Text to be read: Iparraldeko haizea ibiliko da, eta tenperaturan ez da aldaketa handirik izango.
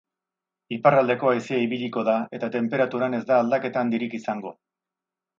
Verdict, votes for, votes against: accepted, 4, 0